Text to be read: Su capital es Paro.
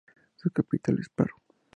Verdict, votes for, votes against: accepted, 2, 0